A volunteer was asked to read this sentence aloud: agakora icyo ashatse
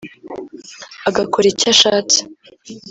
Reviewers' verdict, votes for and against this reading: accepted, 2, 0